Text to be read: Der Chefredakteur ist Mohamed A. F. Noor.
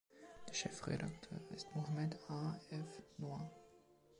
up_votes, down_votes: 1, 3